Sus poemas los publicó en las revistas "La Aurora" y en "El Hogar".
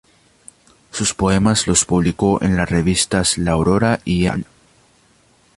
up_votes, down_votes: 0, 2